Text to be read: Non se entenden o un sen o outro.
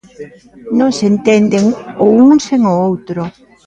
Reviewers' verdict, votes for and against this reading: rejected, 1, 2